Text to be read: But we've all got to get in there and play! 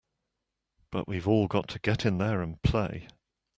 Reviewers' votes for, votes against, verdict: 2, 0, accepted